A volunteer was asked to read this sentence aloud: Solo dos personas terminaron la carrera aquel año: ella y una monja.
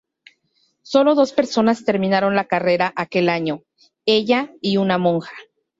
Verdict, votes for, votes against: accepted, 2, 0